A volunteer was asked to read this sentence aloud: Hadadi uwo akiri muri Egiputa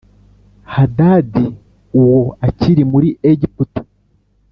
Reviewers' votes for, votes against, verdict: 2, 0, accepted